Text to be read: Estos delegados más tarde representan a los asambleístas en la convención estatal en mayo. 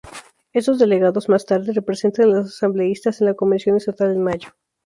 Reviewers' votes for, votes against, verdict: 0, 2, rejected